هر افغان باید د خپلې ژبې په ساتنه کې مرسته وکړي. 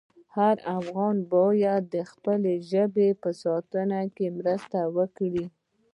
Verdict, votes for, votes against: rejected, 0, 2